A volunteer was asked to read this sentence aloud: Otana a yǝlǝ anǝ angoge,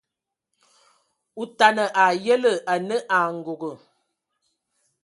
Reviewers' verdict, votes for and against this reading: rejected, 0, 2